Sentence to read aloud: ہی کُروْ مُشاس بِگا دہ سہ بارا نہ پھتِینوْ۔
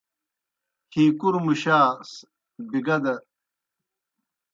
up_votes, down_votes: 0, 2